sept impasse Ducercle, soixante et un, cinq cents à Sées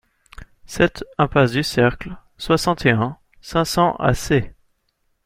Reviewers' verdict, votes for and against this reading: accepted, 2, 0